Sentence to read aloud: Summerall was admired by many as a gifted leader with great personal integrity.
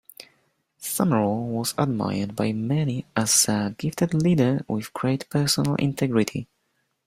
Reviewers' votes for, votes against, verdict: 2, 0, accepted